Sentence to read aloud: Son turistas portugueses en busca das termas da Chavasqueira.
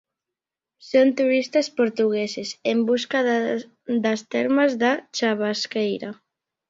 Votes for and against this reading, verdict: 0, 2, rejected